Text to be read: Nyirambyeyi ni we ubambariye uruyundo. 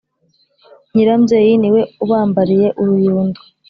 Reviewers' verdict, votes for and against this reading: accepted, 4, 0